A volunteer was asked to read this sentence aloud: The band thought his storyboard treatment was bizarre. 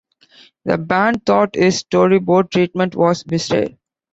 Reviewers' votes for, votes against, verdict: 1, 2, rejected